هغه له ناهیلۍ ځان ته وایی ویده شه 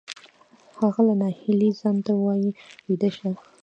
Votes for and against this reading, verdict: 1, 2, rejected